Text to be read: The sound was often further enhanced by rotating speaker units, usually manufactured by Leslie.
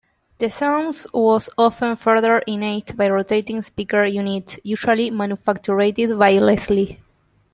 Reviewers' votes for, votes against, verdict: 1, 2, rejected